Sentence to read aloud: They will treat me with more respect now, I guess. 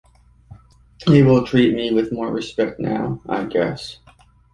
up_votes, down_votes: 2, 0